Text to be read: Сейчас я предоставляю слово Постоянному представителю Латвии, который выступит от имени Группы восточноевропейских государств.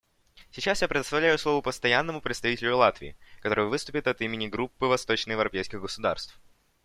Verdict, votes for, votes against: accepted, 2, 0